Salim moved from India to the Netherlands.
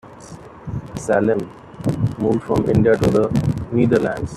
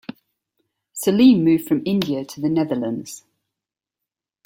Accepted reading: second